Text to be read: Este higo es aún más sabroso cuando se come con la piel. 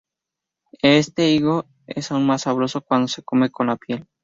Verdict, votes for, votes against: accepted, 2, 0